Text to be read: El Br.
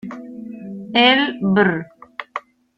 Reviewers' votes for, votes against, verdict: 0, 2, rejected